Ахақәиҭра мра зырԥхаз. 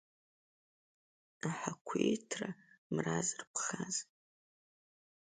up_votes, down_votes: 2, 0